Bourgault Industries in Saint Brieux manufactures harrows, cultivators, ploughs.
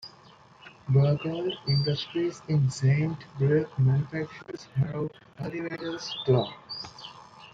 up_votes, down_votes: 0, 2